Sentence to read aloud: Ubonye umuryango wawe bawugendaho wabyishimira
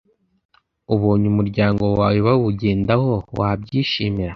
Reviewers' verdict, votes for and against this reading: accepted, 2, 0